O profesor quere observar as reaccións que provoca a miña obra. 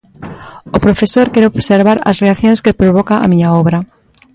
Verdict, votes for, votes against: accepted, 2, 1